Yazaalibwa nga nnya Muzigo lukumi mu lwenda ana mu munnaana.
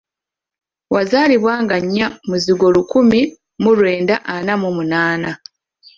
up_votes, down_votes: 0, 2